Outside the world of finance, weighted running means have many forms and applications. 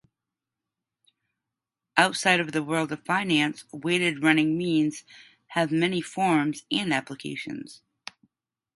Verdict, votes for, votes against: accepted, 2, 0